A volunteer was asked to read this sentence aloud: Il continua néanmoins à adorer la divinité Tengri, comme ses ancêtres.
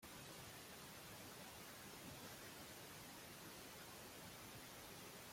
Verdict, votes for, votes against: rejected, 0, 2